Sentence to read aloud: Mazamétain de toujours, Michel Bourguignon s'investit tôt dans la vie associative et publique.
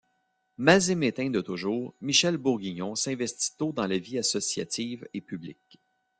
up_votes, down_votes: 2, 1